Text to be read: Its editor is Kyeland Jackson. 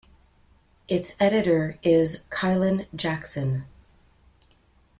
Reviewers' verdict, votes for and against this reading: accepted, 2, 0